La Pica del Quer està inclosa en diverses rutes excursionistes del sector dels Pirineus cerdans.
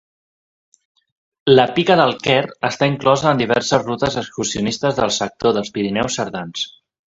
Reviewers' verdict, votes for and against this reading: accepted, 2, 0